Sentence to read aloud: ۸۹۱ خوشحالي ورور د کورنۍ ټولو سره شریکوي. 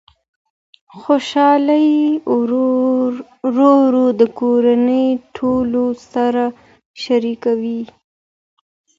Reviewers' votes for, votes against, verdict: 0, 2, rejected